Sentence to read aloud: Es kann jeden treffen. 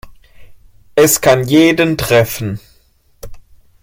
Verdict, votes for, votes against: accepted, 2, 0